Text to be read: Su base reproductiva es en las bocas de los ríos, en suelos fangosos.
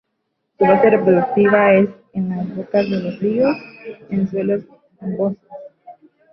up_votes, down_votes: 1, 2